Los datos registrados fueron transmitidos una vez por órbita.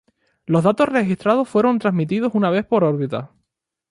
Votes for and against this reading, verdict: 0, 2, rejected